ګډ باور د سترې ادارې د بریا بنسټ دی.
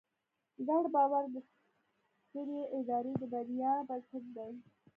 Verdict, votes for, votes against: accepted, 2, 0